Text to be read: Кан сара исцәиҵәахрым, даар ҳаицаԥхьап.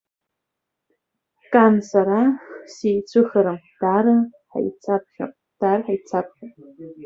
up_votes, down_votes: 0, 2